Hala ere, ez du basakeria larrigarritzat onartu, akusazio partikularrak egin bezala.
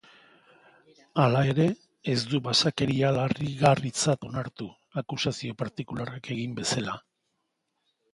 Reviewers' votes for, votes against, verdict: 1, 2, rejected